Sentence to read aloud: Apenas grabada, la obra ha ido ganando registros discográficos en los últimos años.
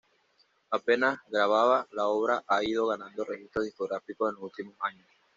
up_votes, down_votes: 1, 2